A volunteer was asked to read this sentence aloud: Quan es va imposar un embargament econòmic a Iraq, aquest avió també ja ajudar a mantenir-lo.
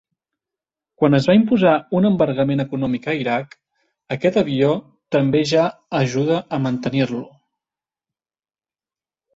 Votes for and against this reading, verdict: 2, 0, accepted